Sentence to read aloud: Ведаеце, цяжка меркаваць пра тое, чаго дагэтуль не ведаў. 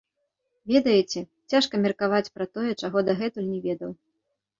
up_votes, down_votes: 3, 0